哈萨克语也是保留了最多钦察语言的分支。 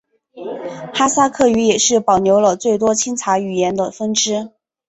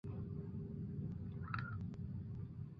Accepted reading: first